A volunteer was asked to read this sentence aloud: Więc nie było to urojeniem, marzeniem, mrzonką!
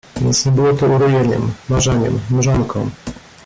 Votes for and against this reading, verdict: 1, 2, rejected